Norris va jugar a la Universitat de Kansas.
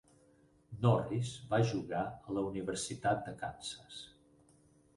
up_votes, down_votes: 4, 0